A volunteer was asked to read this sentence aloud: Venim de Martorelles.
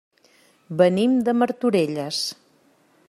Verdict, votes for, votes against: accepted, 3, 0